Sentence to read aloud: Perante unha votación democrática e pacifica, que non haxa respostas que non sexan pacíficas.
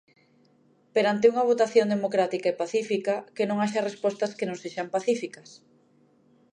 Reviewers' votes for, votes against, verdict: 2, 0, accepted